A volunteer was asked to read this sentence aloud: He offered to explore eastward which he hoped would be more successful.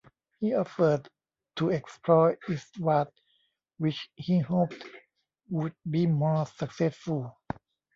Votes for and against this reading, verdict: 0, 2, rejected